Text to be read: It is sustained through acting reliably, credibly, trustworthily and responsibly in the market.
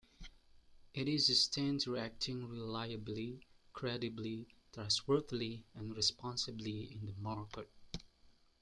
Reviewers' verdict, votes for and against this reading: accepted, 2, 0